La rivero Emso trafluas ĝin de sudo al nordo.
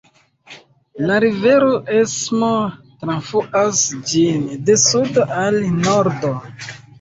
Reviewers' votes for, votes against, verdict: 0, 2, rejected